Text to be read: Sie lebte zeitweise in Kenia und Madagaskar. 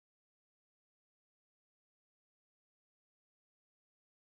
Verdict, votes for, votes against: rejected, 0, 2